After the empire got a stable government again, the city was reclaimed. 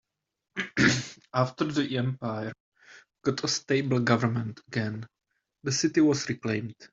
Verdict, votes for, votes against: accepted, 2, 0